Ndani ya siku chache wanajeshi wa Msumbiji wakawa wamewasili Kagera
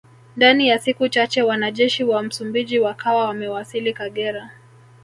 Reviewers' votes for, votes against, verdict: 3, 1, accepted